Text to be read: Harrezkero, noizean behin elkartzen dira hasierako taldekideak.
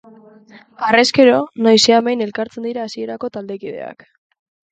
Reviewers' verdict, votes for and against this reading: accepted, 3, 0